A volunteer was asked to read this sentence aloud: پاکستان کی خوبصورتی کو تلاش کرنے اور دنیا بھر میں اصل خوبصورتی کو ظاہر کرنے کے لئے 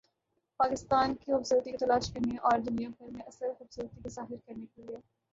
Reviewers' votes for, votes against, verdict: 2, 2, rejected